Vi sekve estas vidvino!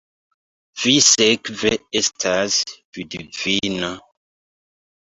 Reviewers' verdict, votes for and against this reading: rejected, 1, 2